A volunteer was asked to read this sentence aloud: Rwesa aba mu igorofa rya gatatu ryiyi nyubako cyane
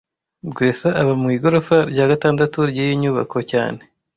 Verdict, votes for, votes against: rejected, 1, 2